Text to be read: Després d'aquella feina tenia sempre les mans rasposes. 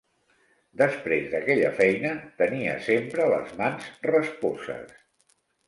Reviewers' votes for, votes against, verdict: 2, 1, accepted